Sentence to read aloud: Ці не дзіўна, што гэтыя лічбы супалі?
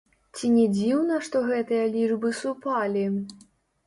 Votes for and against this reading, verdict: 0, 2, rejected